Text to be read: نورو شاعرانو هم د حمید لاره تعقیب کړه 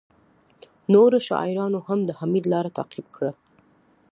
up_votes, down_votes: 2, 0